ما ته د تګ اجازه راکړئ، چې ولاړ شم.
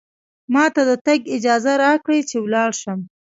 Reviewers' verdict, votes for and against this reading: accepted, 2, 0